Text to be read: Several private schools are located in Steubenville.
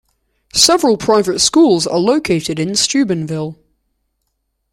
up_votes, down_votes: 2, 0